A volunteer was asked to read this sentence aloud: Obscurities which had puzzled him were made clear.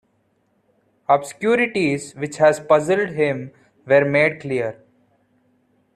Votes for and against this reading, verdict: 1, 2, rejected